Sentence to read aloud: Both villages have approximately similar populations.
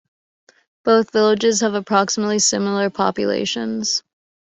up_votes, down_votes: 2, 1